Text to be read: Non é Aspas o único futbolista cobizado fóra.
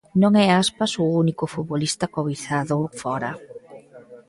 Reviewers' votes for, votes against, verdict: 1, 2, rejected